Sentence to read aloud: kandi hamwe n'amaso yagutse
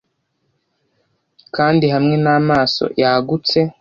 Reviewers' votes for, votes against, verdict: 2, 0, accepted